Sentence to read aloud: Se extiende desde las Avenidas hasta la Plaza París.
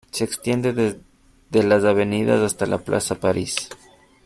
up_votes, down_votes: 0, 2